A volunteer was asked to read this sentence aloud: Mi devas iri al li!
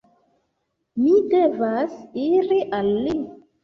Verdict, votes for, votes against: accepted, 2, 1